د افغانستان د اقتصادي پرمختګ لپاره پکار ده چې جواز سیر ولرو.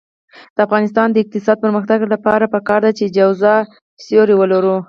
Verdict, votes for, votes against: rejected, 2, 4